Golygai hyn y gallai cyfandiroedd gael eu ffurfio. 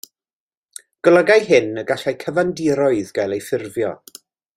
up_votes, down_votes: 2, 1